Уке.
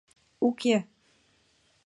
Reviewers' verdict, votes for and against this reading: accepted, 2, 0